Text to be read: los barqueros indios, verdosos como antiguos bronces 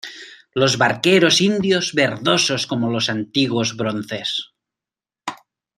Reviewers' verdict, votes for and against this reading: rejected, 0, 2